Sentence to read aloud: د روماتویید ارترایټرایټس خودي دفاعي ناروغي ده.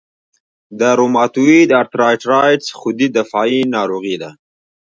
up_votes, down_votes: 0, 2